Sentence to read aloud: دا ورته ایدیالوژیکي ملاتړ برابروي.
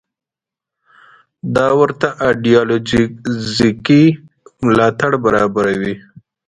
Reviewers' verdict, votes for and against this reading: rejected, 1, 2